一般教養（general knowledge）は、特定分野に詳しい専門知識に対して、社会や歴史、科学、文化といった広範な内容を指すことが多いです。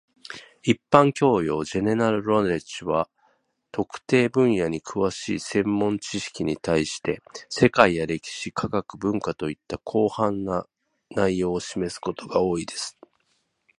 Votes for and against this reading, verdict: 0, 2, rejected